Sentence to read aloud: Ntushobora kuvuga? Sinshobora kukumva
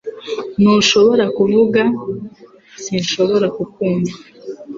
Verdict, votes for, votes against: accepted, 2, 0